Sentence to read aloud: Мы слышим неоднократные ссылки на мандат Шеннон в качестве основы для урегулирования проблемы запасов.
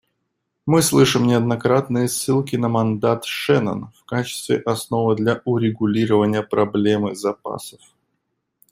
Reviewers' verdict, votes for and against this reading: accepted, 2, 0